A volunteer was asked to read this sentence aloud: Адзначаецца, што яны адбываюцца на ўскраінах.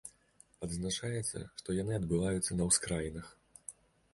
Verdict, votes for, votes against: accepted, 2, 0